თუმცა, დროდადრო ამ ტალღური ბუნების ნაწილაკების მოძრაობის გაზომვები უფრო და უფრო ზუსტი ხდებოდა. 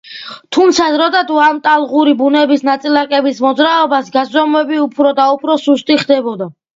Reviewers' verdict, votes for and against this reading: accepted, 2, 0